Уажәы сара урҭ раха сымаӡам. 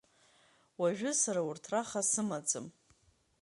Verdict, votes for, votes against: accepted, 2, 0